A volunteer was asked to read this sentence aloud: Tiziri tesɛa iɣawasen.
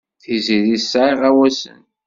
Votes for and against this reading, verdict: 2, 0, accepted